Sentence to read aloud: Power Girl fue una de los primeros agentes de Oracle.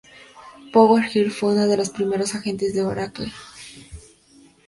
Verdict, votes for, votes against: rejected, 0, 2